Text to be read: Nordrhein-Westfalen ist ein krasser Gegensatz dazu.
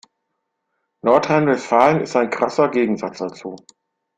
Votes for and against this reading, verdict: 2, 0, accepted